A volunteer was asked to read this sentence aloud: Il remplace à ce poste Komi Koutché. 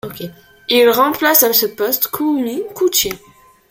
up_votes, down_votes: 2, 0